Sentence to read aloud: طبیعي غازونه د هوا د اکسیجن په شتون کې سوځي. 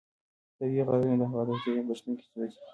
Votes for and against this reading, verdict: 0, 2, rejected